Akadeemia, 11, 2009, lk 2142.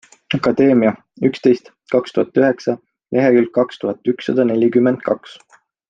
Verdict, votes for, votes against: rejected, 0, 2